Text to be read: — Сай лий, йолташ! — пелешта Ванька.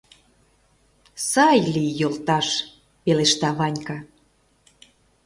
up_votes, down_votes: 2, 0